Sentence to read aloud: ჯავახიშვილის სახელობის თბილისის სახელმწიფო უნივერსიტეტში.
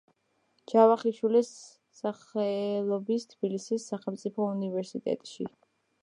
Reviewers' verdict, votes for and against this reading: rejected, 1, 2